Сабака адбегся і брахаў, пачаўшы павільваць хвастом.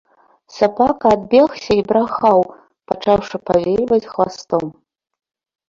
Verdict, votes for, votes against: accepted, 2, 0